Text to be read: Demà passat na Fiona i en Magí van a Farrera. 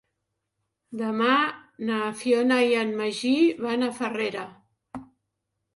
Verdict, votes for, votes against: rejected, 1, 2